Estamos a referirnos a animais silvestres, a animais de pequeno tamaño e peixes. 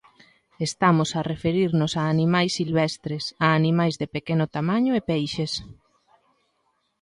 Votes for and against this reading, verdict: 2, 0, accepted